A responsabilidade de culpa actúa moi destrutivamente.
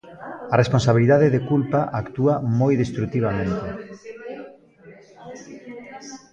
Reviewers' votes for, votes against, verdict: 1, 2, rejected